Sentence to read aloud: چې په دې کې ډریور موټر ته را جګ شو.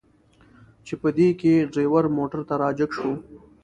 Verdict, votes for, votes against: accepted, 3, 0